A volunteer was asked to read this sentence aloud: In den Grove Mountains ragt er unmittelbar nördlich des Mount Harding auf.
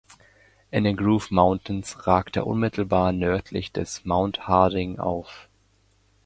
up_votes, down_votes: 1, 2